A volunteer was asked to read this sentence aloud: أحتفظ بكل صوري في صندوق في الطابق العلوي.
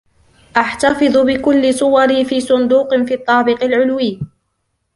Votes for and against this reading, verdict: 2, 0, accepted